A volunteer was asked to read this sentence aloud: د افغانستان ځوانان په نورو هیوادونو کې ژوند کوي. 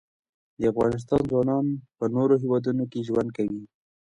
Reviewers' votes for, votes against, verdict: 1, 2, rejected